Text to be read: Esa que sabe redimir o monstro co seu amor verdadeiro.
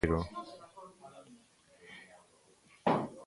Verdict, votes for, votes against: rejected, 1, 2